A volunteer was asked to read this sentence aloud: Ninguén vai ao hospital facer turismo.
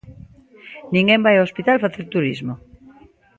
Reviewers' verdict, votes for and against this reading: accepted, 2, 0